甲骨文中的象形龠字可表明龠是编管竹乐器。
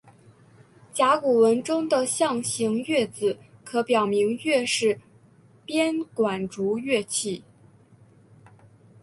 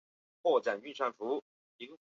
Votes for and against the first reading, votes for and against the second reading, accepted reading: 2, 0, 0, 5, first